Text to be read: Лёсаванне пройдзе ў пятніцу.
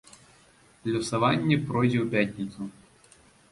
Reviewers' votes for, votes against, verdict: 2, 0, accepted